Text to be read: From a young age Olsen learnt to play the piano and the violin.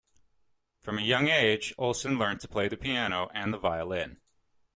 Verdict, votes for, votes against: accepted, 2, 0